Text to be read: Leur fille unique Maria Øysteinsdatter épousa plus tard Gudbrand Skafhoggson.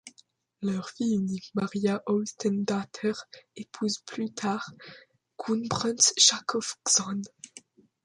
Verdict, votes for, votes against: rejected, 1, 2